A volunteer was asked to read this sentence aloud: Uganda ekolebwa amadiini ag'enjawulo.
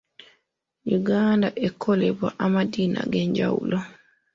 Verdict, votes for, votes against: accepted, 2, 0